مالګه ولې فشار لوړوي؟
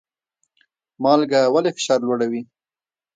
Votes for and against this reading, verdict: 1, 2, rejected